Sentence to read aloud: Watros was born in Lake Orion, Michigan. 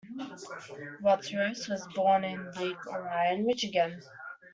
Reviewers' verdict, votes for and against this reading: rejected, 1, 2